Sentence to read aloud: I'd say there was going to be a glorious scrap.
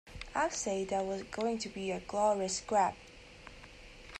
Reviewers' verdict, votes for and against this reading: accepted, 2, 0